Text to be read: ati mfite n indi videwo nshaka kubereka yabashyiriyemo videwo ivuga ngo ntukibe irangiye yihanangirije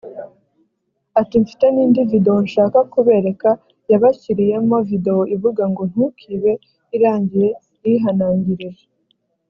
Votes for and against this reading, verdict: 2, 0, accepted